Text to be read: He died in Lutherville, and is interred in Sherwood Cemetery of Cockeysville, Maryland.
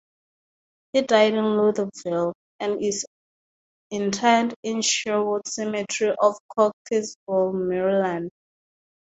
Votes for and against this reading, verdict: 2, 0, accepted